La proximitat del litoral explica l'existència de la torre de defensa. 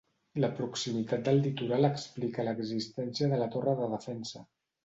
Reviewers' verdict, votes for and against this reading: accepted, 2, 0